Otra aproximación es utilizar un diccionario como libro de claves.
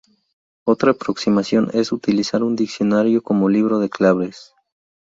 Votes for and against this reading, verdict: 2, 0, accepted